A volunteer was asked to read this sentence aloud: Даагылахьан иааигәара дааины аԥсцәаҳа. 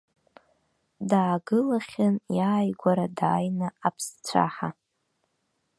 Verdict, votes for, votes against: accepted, 2, 0